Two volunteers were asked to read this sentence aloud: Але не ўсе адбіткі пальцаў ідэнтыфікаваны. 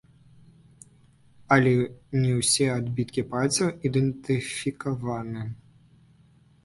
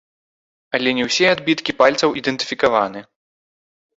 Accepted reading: second